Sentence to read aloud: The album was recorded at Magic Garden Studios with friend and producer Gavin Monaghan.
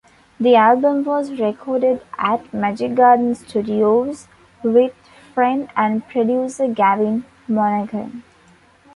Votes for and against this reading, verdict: 2, 0, accepted